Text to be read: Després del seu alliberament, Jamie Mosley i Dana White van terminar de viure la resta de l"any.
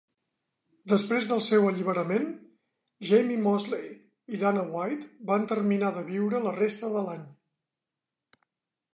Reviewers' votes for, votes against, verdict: 3, 0, accepted